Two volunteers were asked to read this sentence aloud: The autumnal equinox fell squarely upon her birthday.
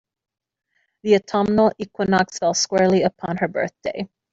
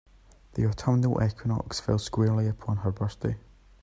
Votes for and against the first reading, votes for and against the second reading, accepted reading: 2, 0, 1, 2, first